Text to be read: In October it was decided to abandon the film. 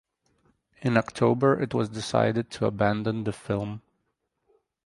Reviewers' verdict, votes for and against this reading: accepted, 4, 0